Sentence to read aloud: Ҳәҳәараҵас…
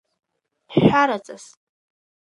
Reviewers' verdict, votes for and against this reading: rejected, 0, 2